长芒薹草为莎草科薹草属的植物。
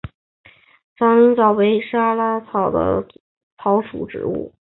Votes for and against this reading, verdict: 0, 2, rejected